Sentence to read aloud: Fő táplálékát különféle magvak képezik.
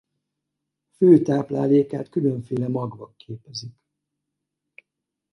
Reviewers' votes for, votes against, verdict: 2, 2, rejected